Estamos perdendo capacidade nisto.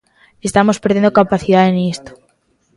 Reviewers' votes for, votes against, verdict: 1, 2, rejected